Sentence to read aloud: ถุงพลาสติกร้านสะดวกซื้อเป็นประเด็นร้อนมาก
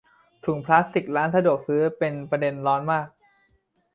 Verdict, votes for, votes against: accepted, 2, 0